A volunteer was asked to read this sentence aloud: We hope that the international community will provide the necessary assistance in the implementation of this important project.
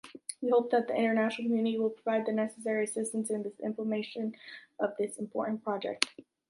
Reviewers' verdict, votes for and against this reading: rejected, 0, 2